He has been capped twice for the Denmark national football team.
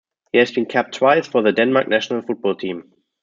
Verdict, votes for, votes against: accepted, 2, 0